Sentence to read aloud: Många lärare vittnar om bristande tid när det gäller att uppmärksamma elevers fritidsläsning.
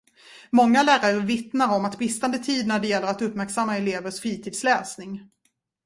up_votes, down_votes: 2, 0